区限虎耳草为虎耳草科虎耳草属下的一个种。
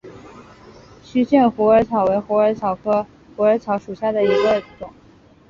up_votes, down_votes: 3, 1